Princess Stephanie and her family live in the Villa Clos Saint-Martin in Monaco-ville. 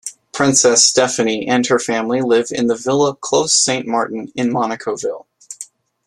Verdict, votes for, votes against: accepted, 2, 1